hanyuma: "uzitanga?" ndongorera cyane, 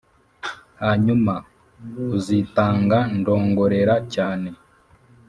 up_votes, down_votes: 3, 0